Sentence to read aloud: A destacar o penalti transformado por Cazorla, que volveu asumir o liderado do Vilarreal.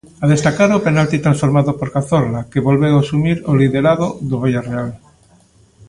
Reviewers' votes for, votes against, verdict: 0, 2, rejected